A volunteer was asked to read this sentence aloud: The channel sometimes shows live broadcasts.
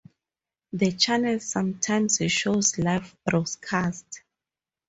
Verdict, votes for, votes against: rejected, 2, 2